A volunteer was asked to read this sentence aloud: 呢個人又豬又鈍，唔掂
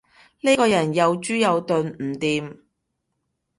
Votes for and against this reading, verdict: 2, 0, accepted